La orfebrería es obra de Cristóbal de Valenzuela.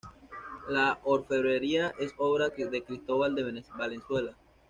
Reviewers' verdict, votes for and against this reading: accepted, 2, 0